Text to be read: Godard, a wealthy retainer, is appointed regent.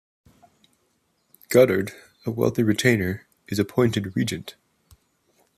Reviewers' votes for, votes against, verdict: 2, 0, accepted